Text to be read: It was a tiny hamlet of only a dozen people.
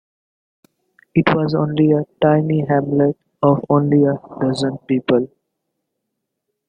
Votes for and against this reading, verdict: 0, 2, rejected